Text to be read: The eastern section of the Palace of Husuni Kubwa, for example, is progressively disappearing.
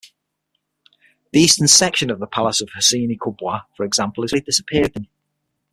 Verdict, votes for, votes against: rejected, 0, 6